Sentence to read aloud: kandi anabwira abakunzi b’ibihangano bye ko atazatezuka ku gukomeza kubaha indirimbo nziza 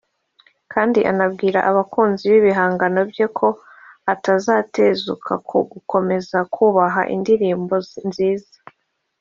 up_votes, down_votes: 0, 2